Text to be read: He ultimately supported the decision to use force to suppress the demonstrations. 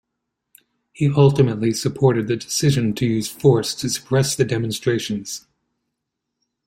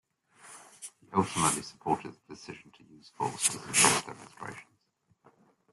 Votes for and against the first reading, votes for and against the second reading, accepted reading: 2, 0, 0, 2, first